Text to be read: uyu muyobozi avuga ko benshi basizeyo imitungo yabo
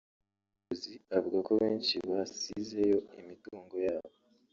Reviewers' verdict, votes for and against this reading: rejected, 0, 2